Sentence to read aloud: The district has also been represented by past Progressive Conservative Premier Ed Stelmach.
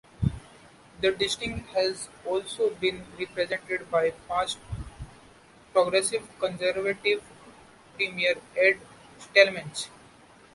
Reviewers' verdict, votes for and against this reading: rejected, 1, 2